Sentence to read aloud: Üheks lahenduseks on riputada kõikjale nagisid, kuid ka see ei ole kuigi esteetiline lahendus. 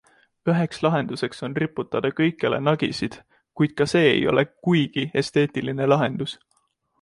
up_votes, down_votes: 2, 1